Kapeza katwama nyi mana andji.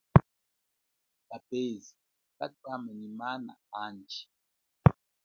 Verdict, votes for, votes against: rejected, 0, 2